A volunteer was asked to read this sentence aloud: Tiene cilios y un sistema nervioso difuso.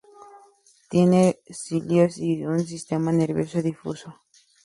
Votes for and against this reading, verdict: 2, 0, accepted